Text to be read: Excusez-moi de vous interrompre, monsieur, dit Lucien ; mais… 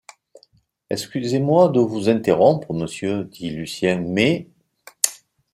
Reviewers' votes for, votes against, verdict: 2, 0, accepted